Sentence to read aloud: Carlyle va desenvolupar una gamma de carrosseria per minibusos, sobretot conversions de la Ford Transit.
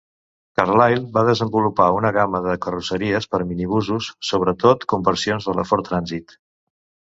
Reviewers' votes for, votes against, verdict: 1, 2, rejected